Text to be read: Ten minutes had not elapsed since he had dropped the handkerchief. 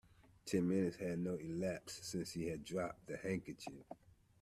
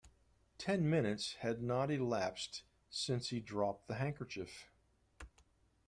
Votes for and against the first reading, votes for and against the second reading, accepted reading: 1, 2, 2, 0, second